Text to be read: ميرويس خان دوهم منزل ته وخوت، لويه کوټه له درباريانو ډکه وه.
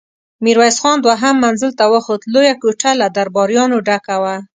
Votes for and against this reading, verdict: 2, 0, accepted